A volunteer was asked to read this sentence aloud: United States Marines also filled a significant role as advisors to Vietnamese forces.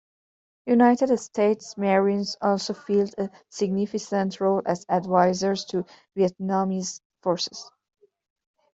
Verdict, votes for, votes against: rejected, 1, 2